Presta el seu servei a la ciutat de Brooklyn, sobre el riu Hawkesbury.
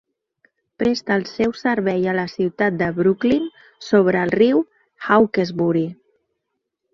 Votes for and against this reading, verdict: 2, 0, accepted